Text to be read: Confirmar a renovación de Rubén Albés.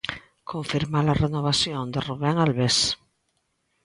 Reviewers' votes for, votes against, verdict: 2, 0, accepted